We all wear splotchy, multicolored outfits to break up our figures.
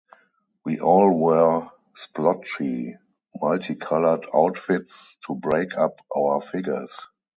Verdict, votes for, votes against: accepted, 2, 0